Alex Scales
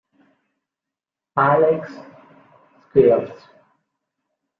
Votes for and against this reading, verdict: 1, 2, rejected